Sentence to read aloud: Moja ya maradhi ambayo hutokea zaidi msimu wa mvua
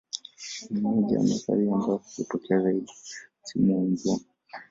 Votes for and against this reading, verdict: 1, 2, rejected